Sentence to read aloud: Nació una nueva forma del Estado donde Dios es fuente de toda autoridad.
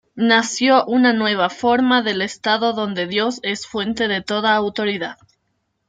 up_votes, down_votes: 2, 0